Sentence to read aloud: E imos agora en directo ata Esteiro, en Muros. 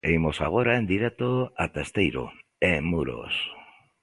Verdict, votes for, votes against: accepted, 2, 0